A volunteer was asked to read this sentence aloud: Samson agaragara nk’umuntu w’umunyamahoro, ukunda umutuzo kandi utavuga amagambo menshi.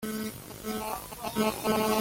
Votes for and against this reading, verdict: 0, 2, rejected